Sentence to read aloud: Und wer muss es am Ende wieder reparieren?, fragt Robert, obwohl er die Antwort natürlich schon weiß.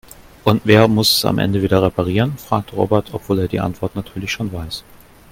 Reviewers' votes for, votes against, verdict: 2, 0, accepted